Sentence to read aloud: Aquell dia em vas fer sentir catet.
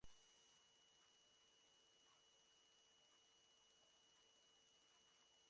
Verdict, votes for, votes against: rejected, 0, 2